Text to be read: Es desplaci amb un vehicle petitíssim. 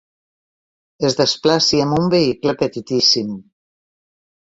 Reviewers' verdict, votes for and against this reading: accepted, 5, 0